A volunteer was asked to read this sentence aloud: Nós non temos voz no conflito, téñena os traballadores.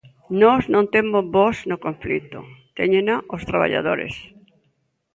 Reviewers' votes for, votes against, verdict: 0, 2, rejected